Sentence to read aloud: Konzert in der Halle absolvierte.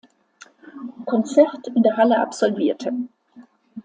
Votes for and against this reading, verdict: 2, 0, accepted